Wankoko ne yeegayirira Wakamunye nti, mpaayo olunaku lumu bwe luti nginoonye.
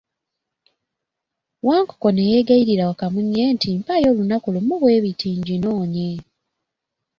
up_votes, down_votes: 2, 0